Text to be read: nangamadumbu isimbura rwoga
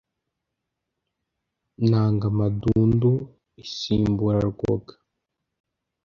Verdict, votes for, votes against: rejected, 0, 2